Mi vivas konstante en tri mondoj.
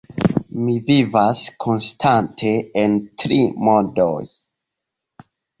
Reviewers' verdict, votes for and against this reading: accepted, 2, 0